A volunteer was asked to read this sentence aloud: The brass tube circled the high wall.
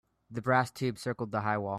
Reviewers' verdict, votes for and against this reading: rejected, 0, 2